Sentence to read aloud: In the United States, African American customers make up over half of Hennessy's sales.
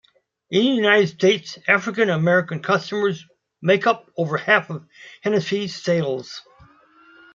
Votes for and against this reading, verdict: 0, 2, rejected